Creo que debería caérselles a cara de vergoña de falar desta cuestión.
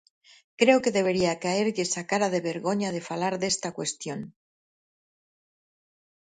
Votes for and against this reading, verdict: 2, 4, rejected